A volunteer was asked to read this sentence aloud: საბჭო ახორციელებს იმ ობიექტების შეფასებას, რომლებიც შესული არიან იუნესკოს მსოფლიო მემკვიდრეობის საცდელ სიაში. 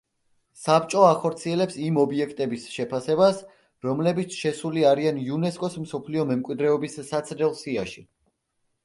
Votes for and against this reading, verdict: 2, 0, accepted